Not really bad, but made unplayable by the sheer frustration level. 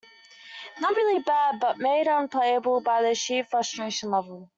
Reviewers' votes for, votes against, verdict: 2, 1, accepted